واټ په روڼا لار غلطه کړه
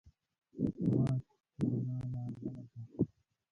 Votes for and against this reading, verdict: 0, 2, rejected